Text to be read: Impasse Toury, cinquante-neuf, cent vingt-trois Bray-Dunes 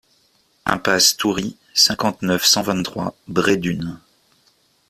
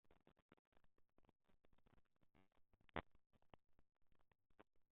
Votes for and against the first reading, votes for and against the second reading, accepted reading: 2, 0, 0, 2, first